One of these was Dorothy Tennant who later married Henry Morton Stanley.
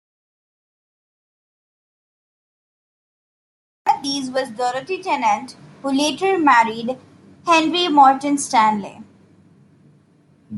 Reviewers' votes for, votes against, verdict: 1, 2, rejected